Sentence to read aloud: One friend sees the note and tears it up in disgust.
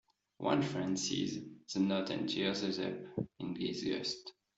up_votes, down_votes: 0, 2